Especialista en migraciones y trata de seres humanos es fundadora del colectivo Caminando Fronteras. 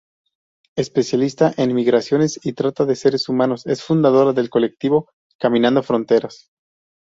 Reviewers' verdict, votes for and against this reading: accepted, 2, 0